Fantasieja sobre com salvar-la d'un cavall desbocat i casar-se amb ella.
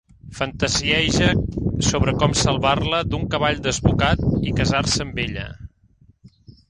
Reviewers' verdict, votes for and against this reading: accepted, 2, 0